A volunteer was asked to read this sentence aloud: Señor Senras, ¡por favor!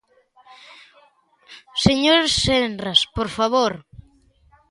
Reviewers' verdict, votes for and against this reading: accepted, 2, 1